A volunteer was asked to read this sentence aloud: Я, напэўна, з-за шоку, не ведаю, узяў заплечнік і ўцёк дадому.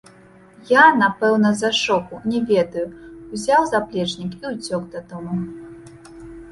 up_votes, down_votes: 2, 0